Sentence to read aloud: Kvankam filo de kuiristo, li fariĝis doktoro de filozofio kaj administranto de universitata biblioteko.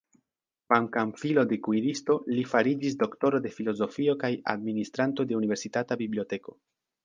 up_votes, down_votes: 1, 2